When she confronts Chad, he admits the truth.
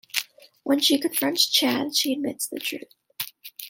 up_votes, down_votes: 2, 0